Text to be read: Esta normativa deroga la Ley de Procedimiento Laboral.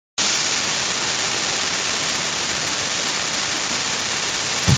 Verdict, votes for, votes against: rejected, 0, 2